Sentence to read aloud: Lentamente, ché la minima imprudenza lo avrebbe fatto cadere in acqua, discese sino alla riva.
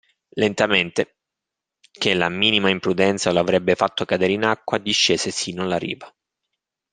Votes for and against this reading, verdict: 0, 2, rejected